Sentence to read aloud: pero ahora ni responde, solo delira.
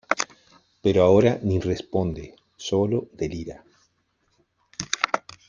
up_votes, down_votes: 2, 0